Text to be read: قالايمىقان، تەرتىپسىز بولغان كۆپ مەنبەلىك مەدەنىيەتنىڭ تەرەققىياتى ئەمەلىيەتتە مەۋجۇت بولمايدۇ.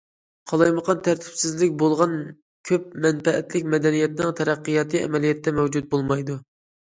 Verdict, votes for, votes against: rejected, 0, 2